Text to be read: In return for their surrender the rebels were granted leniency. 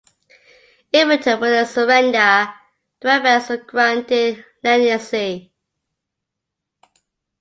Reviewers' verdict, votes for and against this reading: accepted, 2, 1